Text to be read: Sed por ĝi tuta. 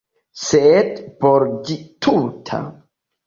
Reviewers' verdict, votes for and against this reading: accepted, 2, 0